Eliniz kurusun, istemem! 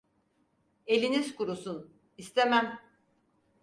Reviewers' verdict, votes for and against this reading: accepted, 4, 0